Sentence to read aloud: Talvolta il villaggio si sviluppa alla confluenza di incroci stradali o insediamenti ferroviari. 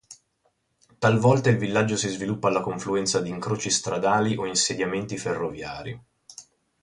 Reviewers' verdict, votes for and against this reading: accepted, 2, 0